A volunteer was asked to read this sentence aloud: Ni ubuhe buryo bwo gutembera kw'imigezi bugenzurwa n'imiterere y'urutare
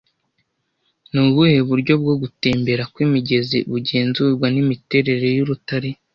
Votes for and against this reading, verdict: 2, 0, accepted